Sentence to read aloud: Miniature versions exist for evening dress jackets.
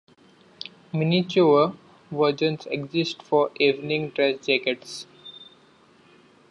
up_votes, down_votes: 1, 2